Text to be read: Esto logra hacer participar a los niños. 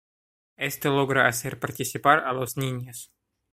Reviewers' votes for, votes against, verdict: 2, 0, accepted